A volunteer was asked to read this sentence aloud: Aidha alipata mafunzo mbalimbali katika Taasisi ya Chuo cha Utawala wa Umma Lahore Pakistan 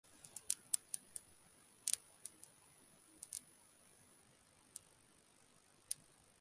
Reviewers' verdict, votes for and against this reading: rejected, 0, 3